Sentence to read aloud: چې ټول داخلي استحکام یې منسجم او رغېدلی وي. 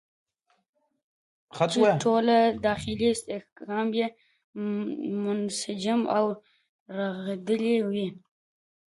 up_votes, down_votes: 1, 2